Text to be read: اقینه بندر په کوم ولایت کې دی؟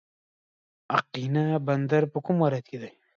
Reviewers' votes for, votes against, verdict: 2, 0, accepted